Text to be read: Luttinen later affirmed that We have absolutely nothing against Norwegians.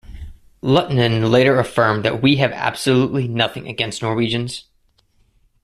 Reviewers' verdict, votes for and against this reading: accepted, 2, 0